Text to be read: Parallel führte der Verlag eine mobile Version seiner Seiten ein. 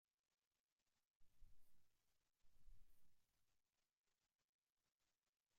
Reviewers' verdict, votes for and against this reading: rejected, 0, 2